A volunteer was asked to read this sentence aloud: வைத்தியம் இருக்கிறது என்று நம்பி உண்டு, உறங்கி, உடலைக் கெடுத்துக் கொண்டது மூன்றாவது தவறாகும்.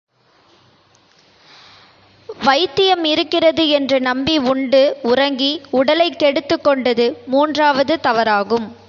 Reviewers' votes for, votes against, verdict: 0, 2, rejected